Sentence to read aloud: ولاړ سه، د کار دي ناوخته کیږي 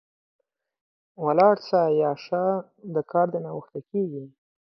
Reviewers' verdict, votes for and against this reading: rejected, 3, 6